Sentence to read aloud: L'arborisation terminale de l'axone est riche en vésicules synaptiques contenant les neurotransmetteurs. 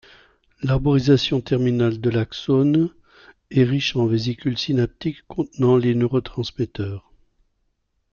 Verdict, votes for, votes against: accepted, 2, 1